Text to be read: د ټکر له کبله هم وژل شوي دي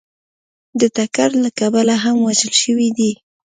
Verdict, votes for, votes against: accepted, 2, 0